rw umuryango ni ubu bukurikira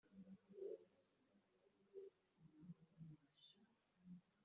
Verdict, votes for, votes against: rejected, 1, 3